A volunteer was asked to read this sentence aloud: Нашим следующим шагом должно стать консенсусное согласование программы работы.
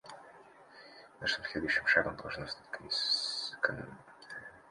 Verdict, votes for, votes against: rejected, 1, 2